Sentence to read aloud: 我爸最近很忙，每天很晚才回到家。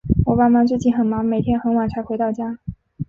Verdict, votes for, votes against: rejected, 1, 3